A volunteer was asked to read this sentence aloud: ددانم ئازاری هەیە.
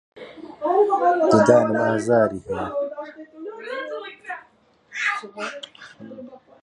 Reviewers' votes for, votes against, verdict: 1, 2, rejected